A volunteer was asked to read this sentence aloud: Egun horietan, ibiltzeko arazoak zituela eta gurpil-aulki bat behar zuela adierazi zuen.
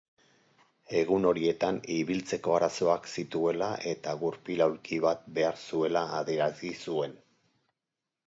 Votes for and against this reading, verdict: 4, 0, accepted